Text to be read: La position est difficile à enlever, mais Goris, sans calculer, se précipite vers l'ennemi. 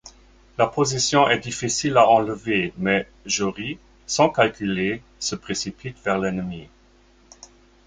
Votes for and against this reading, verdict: 1, 2, rejected